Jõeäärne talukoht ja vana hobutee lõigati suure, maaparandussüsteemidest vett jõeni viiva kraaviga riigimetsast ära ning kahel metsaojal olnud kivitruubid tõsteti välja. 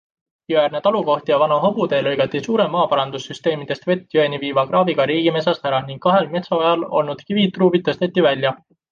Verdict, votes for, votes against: accepted, 2, 0